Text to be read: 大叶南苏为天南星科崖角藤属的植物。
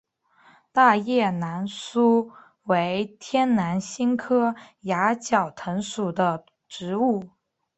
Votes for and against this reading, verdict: 2, 1, accepted